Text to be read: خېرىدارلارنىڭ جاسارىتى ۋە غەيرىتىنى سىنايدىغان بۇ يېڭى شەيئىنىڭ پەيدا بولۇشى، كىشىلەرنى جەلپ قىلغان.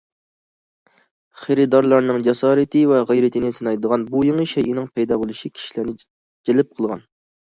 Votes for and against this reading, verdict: 2, 0, accepted